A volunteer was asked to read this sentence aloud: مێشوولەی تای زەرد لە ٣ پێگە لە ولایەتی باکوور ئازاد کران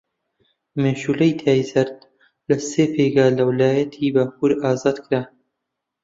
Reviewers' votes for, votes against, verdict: 0, 2, rejected